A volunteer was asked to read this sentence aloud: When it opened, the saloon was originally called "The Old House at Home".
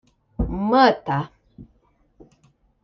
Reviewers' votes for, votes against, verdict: 1, 2, rejected